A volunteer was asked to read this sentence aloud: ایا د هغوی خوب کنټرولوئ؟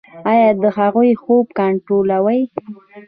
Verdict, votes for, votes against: accepted, 2, 1